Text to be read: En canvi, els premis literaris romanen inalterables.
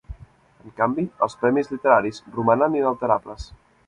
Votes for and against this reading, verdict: 2, 0, accepted